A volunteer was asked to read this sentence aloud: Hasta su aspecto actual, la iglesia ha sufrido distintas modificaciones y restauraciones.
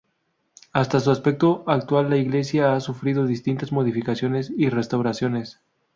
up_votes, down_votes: 2, 0